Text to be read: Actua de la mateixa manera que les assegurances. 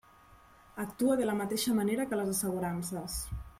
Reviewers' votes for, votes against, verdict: 2, 0, accepted